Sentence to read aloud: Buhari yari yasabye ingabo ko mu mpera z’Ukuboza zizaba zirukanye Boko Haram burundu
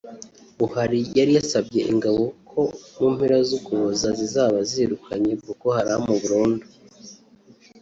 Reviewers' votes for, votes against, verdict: 2, 1, accepted